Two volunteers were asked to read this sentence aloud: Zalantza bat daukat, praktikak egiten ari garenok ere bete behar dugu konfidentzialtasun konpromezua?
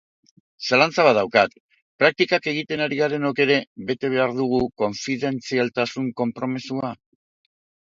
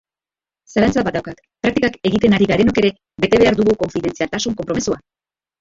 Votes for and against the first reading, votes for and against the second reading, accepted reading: 2, 0, 0, 3, first